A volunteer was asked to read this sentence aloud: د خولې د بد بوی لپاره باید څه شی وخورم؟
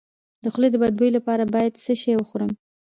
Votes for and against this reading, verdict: 2, 0, accepted